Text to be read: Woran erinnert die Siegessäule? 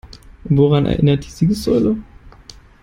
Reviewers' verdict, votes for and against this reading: accepted, 3, 0